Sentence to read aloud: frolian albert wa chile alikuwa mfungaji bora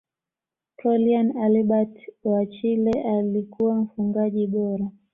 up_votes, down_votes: 2, 0